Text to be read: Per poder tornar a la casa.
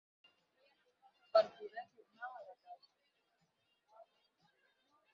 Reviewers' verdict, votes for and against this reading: rejected, 2, 8